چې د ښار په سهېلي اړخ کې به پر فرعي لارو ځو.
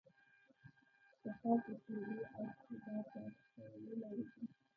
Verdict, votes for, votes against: rejected, 1, 2